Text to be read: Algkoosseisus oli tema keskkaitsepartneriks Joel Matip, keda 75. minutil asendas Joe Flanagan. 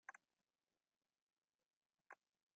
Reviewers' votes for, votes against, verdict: 0, 2, rejected